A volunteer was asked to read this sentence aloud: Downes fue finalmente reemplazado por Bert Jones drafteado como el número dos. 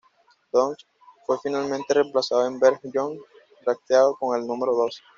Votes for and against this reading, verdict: 1, 2, rejected